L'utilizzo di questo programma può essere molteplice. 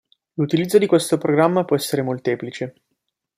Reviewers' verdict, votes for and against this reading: accepted, 2, 0